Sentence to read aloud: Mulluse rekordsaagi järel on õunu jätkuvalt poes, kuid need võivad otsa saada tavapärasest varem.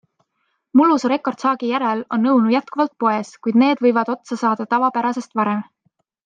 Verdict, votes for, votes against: accepted, 2, 0